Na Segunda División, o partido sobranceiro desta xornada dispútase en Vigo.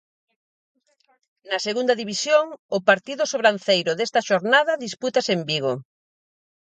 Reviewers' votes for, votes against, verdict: 2, 2, rejected